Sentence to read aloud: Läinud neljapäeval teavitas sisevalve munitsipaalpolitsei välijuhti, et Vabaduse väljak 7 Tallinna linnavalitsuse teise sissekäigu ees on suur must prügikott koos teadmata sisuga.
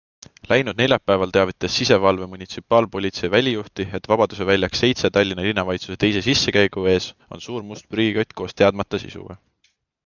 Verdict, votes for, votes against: rejected, 0, 2